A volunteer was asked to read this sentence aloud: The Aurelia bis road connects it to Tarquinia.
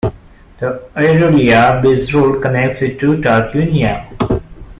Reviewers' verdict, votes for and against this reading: rejected, 0, 2